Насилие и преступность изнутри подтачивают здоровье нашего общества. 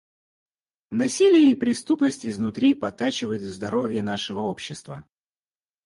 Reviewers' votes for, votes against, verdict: 2, 2, rejected